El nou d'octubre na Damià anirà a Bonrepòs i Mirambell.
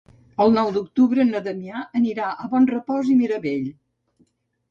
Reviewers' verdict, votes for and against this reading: rejected, 0, 2